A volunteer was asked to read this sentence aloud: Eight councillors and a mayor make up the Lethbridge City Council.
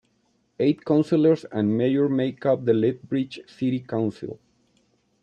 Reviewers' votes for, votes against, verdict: 1, 2, rejected